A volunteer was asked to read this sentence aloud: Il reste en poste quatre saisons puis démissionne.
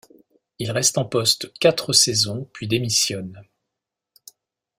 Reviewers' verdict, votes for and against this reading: accepted, 2, 0